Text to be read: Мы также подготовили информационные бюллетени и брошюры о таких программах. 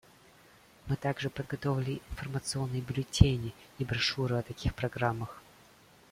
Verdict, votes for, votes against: accepted, 3, 0